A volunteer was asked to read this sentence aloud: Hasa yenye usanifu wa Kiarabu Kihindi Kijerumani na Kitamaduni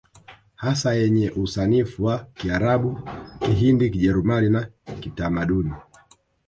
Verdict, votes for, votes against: rejected, 2, 3